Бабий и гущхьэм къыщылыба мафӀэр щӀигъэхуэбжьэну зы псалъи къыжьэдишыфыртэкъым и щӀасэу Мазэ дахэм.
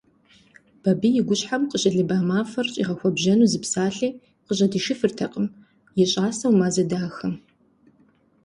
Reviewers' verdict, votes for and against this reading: accepted, 2, 0